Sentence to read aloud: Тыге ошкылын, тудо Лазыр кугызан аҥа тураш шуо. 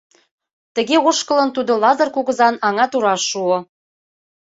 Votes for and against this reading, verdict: 2, 0, accepted